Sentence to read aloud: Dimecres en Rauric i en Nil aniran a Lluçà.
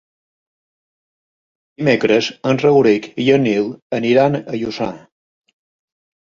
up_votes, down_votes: 0, 2